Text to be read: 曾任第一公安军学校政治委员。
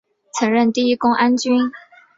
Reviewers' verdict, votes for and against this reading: rejected, 3, 3